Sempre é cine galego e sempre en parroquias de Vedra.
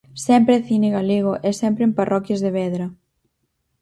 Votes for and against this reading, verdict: 4, 0, accepted